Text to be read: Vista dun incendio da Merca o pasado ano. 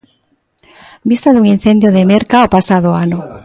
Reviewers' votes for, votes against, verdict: 2, 1, accepted